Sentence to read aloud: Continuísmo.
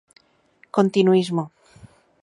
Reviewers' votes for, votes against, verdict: 2, 0, accepted